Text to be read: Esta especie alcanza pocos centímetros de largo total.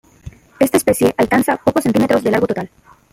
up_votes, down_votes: 1, 2